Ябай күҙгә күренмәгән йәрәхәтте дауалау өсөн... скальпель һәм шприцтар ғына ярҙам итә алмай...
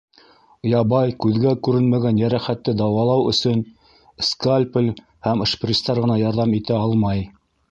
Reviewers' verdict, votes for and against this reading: rejected, 0, 2